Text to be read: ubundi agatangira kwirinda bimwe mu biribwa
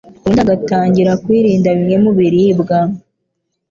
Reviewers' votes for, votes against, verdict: 2, 0, accepted